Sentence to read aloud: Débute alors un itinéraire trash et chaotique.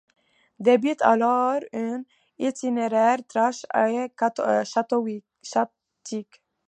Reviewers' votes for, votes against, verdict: 0, 2, rejected